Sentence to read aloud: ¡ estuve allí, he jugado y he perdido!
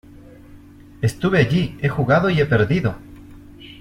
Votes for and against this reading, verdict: 2, 0, accepted